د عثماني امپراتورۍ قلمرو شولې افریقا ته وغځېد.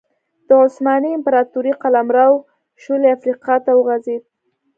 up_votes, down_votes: 2, 0